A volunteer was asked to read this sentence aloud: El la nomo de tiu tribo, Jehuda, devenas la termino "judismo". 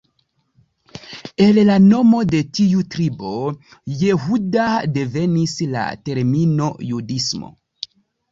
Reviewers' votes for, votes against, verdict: 1, 2, rejected